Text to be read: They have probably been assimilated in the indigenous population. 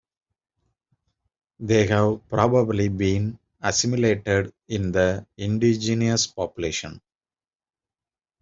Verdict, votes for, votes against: accepted, 2, 0